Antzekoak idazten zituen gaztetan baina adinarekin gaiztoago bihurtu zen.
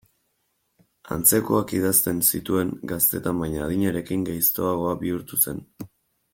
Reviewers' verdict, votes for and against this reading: accepted, 2, 0